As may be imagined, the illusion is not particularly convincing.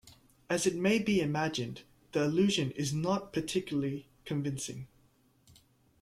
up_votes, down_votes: 1, 2